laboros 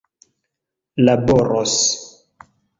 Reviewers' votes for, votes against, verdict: 2, 1, accepted